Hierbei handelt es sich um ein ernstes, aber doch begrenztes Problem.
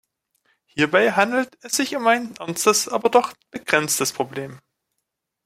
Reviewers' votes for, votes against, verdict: 2, 0, accepted